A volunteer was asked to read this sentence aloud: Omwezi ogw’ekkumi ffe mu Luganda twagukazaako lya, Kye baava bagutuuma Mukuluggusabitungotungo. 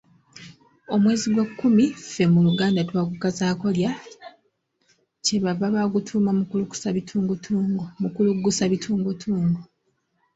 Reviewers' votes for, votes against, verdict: 1, 2, rejected